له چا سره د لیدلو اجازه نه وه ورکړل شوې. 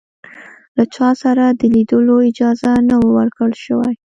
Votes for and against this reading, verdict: 2, 1, accepted